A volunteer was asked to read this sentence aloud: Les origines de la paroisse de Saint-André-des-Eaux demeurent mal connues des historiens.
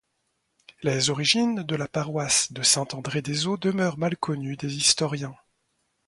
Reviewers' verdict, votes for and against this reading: accepted, 2, 0